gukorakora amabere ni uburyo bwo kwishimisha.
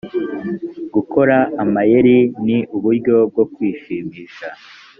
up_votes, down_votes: 2, 3